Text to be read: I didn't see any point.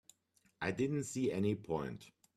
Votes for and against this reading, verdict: 3, 0, accepted